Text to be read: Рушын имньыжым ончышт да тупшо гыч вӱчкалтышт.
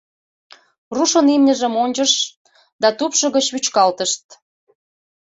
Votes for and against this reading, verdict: 2, 1, accepted